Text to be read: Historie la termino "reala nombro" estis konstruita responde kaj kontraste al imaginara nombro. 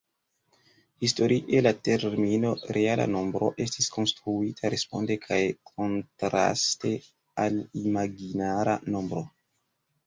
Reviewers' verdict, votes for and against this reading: accepted, 2, 1